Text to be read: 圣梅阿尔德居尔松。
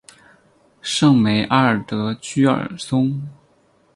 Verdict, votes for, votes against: accepted, 2, 0